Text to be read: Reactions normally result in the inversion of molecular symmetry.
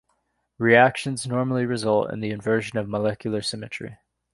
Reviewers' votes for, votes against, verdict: 2, 0, accepted